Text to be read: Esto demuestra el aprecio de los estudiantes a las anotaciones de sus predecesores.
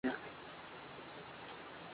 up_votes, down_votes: 0, 2